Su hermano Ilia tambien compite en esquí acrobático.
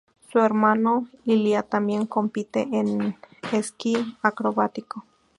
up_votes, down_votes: 2, 0